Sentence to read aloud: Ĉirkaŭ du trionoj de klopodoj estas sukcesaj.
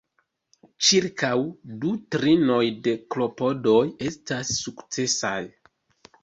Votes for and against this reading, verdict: 1, 2, rejected